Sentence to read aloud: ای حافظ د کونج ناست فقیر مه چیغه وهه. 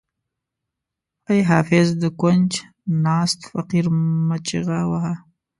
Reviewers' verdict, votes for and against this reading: accepted, 2, 0